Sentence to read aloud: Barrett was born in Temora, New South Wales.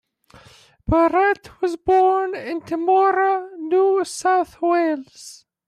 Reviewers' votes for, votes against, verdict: 0, 2, rejected